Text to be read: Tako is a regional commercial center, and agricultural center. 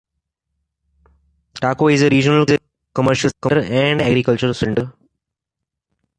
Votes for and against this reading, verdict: 1, 2, rejected